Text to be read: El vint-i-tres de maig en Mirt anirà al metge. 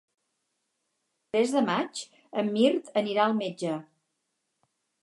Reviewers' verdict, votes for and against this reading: rejected, 0, 4